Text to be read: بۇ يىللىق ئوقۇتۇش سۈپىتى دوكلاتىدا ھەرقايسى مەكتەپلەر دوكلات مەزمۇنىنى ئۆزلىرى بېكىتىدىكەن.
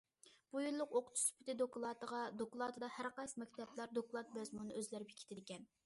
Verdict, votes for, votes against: rejected, 0, 2